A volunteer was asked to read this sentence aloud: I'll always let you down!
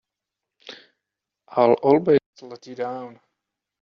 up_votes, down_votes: 3, 4